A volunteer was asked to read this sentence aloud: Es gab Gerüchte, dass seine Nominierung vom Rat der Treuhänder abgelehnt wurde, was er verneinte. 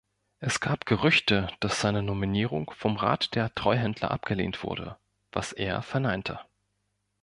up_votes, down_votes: 1, 2